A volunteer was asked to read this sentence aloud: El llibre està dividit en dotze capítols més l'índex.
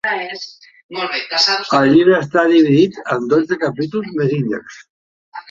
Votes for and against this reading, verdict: 0, 2, rejected